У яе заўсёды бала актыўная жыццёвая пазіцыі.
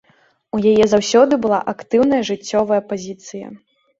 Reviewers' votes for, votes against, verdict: 0, 2, rejected